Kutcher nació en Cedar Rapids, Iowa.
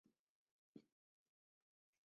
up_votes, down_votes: 0, 2